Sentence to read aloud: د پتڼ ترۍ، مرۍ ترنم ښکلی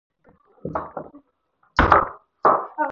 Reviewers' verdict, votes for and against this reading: rejected, 0, 4